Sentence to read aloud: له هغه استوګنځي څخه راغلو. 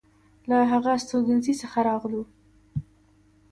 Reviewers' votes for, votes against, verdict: 2, 0, accepted